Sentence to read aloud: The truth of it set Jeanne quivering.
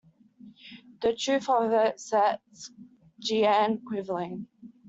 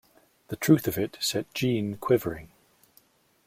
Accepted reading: second